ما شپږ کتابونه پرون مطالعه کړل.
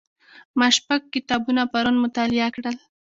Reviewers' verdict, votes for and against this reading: accepted, 2, 0